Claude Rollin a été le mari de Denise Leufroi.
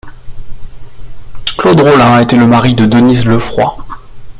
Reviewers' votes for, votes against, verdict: 2, 0, accepted